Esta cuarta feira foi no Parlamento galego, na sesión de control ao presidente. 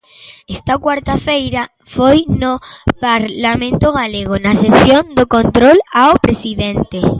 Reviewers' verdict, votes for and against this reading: rejected, 0, 2